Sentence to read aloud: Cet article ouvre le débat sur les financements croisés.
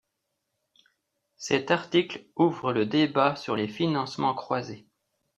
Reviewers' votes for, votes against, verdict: 2, 0, accepted